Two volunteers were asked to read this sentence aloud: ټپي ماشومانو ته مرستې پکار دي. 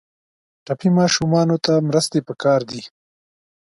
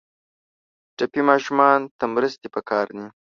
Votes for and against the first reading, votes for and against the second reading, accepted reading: 2, 0, 0, 2, first